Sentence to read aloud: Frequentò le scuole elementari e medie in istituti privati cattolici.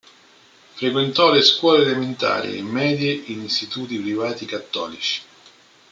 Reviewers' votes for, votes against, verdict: 0, 2, rejected